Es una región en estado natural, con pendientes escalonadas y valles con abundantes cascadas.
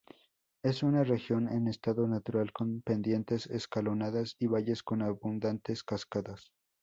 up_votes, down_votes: 0, 2